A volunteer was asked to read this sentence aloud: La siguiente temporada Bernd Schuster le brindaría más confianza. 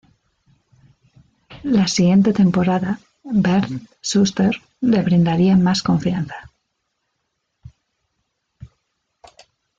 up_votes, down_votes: 1, 2